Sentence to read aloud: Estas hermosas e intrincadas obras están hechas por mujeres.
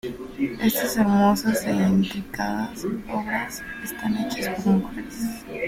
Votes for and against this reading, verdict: 1, 2, rejected